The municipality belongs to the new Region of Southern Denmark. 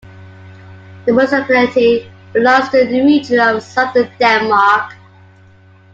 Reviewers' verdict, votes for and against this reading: rejected, 1, 2